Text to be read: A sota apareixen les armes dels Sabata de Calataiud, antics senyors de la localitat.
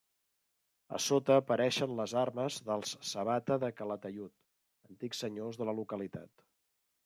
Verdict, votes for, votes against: accepted, 2, 0